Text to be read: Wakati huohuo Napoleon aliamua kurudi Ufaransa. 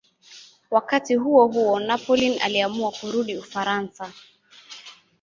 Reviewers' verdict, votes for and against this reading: accepted, 2, 0